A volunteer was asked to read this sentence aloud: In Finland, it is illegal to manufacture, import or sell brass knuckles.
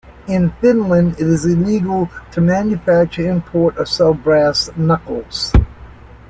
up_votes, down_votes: 2, 0